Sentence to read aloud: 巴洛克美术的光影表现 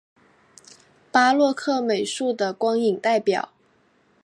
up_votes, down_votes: 1, 2